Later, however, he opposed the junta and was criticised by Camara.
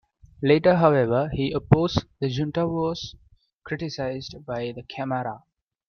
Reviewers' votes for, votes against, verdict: 0, 2, rejected